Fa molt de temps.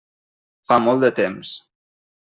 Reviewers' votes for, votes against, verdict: 3, 0, accepted